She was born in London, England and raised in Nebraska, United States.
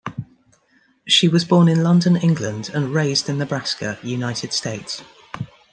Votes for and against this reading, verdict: 2, 1, accepted